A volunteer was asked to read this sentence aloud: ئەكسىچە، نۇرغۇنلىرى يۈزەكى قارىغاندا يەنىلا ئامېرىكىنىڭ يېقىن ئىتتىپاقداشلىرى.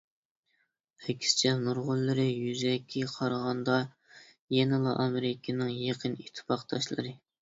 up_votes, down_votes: 2, 0